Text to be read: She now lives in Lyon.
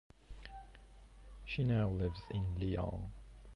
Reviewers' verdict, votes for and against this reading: accepted, 2, 0